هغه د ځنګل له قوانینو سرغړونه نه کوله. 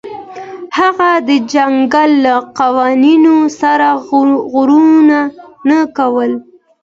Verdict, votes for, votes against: rejected, 0, 2